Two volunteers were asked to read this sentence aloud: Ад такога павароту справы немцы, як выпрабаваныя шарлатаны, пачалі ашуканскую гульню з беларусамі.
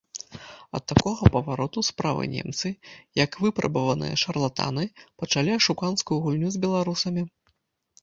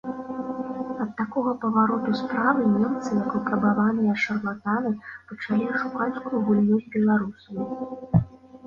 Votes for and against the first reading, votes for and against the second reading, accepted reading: 2, 0, 1, 2, first